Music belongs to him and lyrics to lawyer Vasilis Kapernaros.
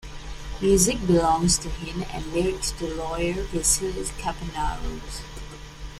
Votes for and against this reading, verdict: 2, 0, accepted